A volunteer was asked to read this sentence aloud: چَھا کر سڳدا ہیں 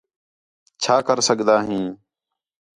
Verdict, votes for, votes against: accepted, 4, 0